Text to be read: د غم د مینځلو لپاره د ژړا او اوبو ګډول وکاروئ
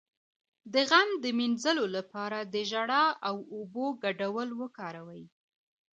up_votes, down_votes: 2, 0